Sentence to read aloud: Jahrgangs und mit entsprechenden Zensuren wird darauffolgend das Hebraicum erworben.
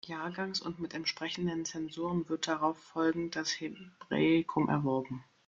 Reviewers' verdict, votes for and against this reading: rejected, 0, 2